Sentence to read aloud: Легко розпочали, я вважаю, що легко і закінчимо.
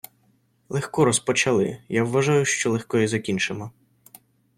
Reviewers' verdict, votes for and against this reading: rejected, 0, 2